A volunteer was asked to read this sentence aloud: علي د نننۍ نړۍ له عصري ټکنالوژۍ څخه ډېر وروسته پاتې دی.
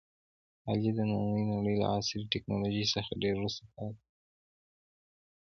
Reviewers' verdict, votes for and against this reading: accepted, 2, 1